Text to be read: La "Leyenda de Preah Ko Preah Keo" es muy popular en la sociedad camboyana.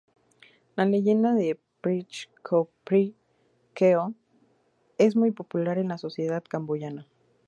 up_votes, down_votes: 2, 0